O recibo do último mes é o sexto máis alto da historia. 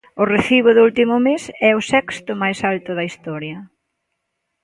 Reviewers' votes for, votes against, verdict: 3, 0, accepted